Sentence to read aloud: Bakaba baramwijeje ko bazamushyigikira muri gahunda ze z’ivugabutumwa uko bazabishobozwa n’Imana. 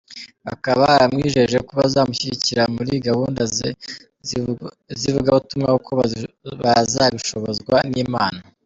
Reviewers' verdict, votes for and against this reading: rejected, 0, 2